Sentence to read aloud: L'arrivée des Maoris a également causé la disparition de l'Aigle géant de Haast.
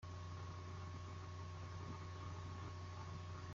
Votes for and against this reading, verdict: 0, 2, rejected